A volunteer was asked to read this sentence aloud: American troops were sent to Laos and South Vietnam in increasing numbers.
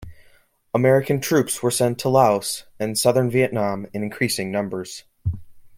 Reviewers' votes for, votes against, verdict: 0, 2, rejected